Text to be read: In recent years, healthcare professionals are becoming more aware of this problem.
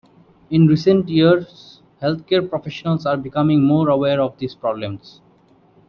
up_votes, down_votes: 0, 2